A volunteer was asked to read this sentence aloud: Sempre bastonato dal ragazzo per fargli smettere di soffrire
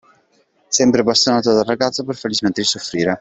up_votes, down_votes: 2, 0